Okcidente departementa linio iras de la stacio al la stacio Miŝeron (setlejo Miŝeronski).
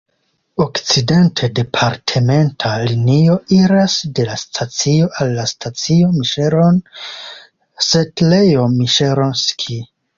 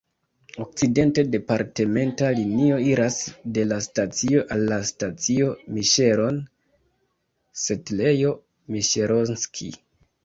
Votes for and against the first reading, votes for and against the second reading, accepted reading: 2, 0, 1, 2, first